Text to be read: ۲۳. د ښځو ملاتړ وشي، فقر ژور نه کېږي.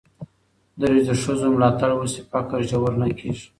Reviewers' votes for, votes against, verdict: 0, 2, rejected